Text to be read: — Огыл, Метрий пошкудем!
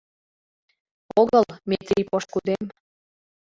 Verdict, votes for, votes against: accepted, 2, 0